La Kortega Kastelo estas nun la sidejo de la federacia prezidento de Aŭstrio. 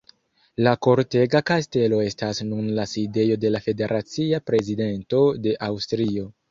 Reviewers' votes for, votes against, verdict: 2, 0, accepted